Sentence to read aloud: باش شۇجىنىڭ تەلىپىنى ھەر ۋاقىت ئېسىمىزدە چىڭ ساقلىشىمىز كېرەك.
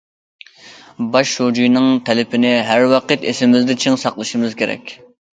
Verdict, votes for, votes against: accepted, 2, 0